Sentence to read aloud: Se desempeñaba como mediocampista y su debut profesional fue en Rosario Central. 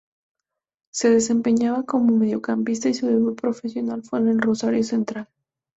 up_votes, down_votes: 0, 4